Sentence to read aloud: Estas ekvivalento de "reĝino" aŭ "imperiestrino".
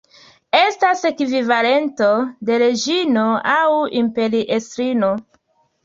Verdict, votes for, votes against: accepted, 2, 0